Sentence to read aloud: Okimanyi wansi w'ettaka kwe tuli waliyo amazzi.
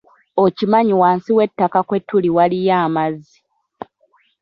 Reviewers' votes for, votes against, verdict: 2, 0, accepted